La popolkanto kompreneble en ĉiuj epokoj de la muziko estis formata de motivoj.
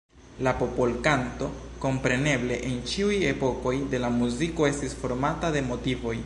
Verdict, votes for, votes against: accepted, 2, 1